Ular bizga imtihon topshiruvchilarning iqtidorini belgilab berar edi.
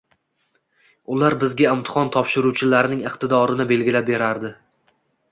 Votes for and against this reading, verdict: 2, 0, accepted